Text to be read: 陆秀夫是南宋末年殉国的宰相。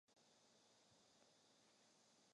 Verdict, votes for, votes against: rejected, 0, 2